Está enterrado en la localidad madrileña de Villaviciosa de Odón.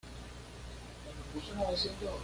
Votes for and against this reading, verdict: 1, 2, rejected